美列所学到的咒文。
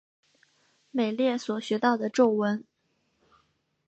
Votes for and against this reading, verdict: 5, 0, accepted